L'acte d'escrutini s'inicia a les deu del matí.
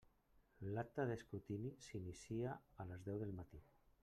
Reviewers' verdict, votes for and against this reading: rejected, 1, 2